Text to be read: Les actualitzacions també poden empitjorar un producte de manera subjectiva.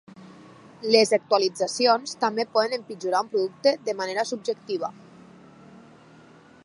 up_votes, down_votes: 4, 0